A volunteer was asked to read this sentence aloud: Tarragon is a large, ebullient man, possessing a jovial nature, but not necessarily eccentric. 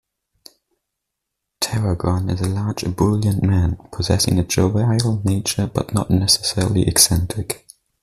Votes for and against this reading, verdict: 1, 2, rejected